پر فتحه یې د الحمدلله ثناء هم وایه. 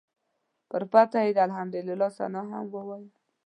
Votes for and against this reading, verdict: 2, 0, accepted